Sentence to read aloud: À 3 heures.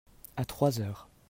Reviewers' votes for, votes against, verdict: 0, 2, rejected